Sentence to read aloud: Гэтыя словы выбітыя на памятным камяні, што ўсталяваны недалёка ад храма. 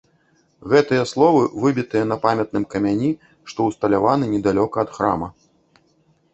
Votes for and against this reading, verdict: 2, 0, accepted